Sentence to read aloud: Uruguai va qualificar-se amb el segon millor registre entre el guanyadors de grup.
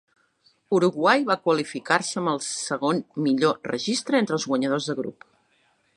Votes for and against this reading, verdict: 2, 0, accepted